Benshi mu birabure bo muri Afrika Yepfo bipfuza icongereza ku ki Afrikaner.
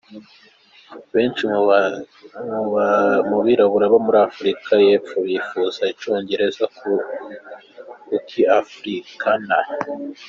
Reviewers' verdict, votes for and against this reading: rejected, 1, 2